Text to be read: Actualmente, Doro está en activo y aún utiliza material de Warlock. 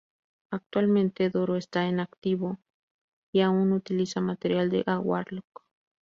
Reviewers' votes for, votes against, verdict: 2, 4, rejected